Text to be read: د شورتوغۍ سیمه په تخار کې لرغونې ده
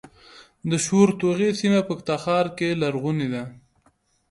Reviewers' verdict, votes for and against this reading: accepted, 2, 1